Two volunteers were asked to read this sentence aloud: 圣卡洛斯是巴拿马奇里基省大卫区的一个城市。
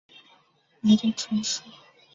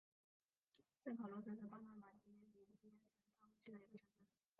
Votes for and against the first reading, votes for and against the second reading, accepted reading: 5, 2, 0, 2, first